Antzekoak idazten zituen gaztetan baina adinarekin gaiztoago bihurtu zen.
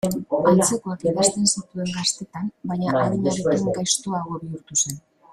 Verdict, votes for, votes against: rejected, 2, 3